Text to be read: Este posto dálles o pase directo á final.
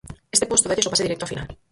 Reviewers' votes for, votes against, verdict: 0, 4, rejected